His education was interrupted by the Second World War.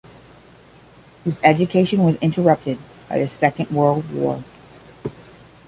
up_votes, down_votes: 10, 0